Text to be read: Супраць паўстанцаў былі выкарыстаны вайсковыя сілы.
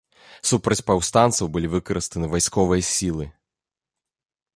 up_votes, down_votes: 2, 1